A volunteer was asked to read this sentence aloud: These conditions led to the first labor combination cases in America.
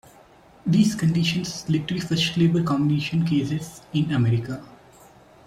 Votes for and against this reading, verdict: 2, 1, accepted